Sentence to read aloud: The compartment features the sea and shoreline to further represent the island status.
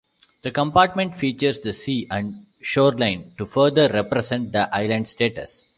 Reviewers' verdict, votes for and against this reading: accepted, 2, 0